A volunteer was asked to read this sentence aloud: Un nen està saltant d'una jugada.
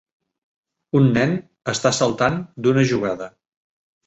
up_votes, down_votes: 3, 0